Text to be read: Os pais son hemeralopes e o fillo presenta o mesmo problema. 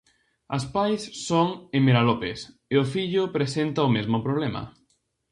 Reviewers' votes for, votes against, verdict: 2, 2, rejected